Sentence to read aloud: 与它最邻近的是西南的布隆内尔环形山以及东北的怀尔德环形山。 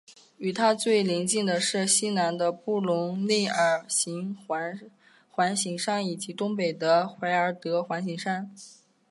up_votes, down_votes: 2, 1